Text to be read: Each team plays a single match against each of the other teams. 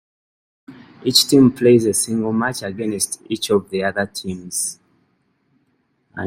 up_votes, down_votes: 2, 1